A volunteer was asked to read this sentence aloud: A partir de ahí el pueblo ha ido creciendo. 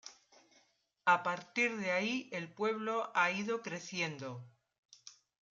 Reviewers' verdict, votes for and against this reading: accepted, 2, 1